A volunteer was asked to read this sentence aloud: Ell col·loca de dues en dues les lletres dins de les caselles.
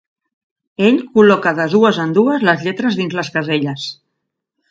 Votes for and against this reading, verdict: 1, 2, rejected